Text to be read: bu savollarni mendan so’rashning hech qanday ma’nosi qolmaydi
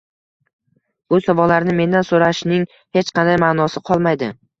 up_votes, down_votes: 1, 2